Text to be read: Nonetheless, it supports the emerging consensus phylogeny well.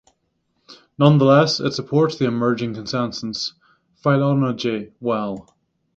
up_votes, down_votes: 6, 0